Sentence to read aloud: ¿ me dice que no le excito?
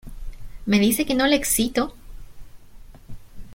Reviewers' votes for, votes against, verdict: 2, 0, accepted